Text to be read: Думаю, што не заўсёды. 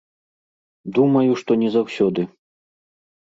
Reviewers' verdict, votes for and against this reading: accepted, 2, 0